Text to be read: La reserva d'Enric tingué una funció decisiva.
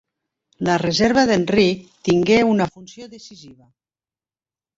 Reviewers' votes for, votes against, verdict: 2, 0, accepted